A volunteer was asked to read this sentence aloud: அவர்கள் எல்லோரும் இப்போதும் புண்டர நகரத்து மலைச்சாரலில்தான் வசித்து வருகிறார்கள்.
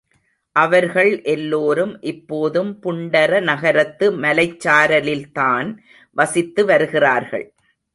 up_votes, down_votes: 3, 0